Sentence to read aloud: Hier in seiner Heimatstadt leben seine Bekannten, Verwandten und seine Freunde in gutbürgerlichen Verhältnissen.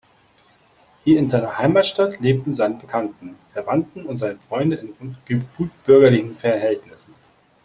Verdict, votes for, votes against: rejected, 0, 2